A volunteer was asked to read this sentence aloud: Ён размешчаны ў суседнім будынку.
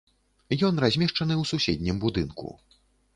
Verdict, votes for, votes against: accepted, 2, 0